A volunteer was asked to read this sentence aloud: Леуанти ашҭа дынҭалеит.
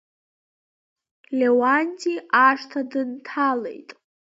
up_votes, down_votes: 2, 1